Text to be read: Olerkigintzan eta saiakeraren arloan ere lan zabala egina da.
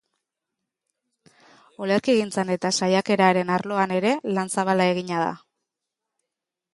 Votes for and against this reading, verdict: 2, 0, accepted